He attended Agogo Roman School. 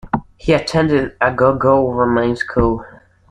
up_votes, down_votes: 2, 0